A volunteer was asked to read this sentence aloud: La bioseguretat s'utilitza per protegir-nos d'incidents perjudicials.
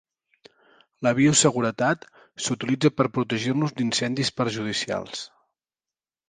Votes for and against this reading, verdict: 1, 2, rejected